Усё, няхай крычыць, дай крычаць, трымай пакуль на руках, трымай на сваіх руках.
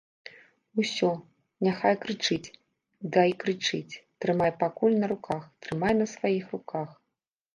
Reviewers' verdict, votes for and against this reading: rejected, 0, 2